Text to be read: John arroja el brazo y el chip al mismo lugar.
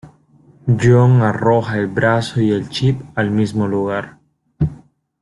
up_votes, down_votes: 2, 0